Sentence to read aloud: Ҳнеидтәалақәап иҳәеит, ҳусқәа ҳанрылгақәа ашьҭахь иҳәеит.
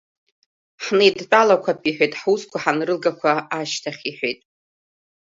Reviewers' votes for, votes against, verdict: 2, 0, accepted